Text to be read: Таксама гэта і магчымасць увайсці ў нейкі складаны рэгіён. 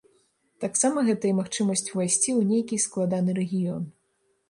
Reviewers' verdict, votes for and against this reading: accepted, 4, 0